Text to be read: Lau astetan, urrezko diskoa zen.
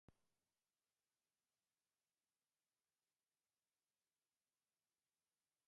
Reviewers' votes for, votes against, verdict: 0, 4, rejected